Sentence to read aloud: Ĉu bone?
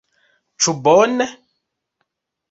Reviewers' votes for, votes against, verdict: 2, 0, accepted